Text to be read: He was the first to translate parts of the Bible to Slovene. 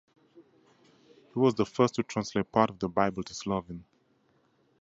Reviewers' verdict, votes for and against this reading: accepted, 2, 0